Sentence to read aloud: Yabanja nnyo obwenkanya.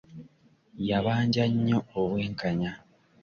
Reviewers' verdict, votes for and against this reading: accepted, 2, 0